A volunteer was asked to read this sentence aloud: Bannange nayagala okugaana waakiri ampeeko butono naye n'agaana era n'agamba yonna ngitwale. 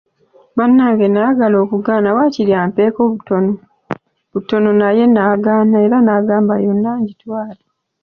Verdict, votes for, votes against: accepted, 2, 1